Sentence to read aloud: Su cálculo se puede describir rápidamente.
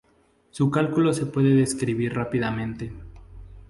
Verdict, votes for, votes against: accepted, 2, 0